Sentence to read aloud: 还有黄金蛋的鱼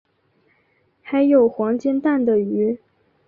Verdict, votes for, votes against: accepted, 2, 0